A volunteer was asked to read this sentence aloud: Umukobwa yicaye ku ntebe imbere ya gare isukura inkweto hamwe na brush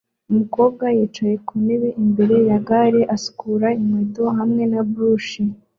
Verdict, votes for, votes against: accepted, 2, 0